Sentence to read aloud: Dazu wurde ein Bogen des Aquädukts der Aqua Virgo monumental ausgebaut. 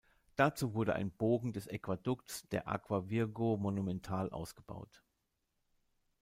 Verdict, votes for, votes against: accepted, 2, 1